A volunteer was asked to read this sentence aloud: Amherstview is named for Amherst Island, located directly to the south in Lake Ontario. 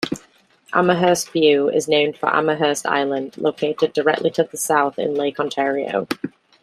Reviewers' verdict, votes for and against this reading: rejected, 0, 2